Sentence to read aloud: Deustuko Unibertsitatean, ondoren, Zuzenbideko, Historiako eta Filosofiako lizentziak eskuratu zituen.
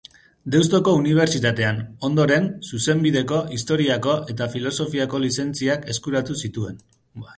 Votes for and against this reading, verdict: 2, 4, rejected